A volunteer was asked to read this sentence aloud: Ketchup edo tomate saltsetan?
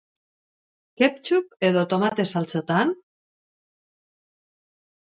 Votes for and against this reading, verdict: 2, 2, rejected